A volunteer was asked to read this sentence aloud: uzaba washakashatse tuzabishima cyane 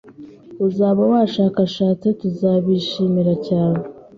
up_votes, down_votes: 0, 2